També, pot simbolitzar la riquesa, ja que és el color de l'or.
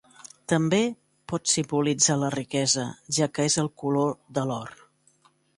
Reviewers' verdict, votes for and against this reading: rejected, 1, 2